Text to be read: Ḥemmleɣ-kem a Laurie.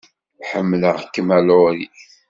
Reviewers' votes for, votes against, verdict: 3, 0, accepted